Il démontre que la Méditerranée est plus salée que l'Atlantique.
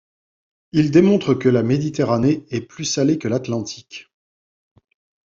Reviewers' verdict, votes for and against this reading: accepted, 2, 0